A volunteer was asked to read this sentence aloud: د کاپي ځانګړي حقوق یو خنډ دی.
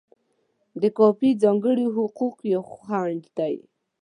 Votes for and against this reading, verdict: 2, 0, accepted